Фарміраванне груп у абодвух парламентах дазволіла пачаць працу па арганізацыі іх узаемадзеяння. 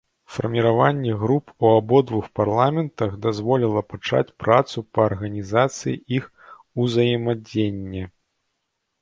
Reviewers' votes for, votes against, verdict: 0, 2, rejected